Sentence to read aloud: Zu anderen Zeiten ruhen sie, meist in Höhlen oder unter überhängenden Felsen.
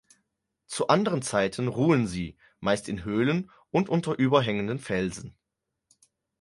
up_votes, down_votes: 2, 4